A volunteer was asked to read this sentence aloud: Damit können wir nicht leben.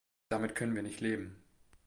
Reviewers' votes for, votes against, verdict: 2, 1, accepted